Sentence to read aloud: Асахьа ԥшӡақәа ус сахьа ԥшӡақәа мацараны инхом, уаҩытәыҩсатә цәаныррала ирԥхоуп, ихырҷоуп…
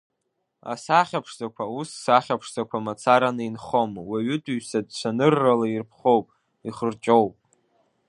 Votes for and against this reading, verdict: 2, 0, accepted